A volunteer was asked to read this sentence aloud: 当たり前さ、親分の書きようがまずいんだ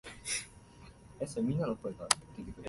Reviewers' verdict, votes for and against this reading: rejected, 0, 2